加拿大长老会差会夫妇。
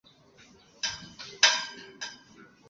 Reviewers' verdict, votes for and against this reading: accepted, 2, 1